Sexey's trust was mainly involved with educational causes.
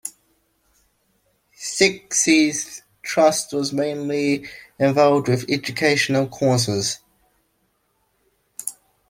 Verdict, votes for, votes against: accepted, 2, 0